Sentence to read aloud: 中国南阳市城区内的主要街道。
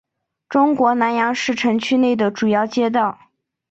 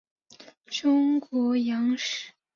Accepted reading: first